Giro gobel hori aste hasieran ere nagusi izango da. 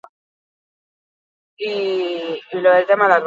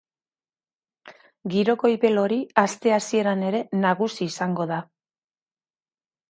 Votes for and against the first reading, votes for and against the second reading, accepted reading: 0, 2, 2, 0, second